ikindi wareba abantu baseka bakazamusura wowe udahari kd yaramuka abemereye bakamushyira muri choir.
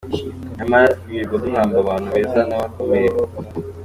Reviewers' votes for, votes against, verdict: 0, 2, rejected